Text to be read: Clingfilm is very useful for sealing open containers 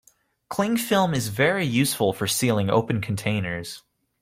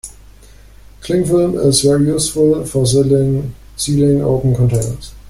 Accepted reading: first